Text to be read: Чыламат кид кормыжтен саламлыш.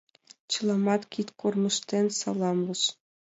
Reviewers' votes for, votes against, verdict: 2, 0, accepted